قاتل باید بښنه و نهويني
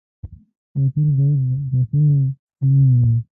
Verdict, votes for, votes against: rejected, 0, 2